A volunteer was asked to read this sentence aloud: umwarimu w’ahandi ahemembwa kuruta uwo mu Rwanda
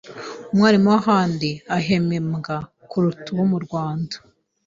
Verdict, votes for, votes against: accepted, 2, 0